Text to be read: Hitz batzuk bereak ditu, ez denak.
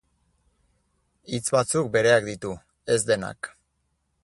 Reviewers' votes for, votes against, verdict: 4, 0, accepted